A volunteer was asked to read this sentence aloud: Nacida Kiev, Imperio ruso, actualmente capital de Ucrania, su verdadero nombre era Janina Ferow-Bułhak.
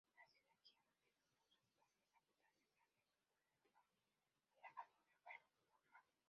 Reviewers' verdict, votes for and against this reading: rejected, 0, 2